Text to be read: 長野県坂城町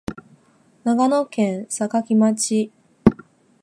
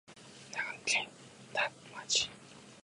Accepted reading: first